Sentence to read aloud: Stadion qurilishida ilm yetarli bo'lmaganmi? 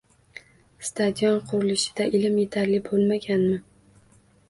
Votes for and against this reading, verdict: 2, 0, accepted